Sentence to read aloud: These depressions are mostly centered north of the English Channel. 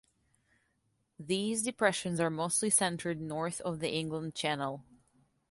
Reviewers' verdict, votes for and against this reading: rejected, 1, 2